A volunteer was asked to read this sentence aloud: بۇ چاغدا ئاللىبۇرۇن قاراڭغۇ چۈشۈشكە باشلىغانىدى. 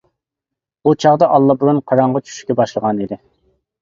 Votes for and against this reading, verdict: 1, 2, rejected